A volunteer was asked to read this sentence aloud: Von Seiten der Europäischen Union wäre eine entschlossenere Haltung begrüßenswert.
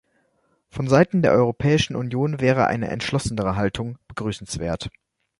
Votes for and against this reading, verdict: 2, 0, accepted